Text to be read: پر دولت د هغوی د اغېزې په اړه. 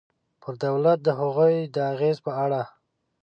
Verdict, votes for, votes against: accepted, 2, 0